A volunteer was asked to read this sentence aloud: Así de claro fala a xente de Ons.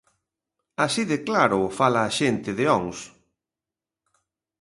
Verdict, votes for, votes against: accepted, 2, 0